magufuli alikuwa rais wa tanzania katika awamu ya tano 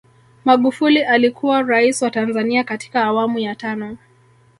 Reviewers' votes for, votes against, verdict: 2, 0, accepted